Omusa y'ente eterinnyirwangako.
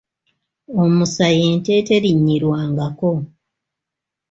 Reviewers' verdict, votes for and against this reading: accepted, 2, 0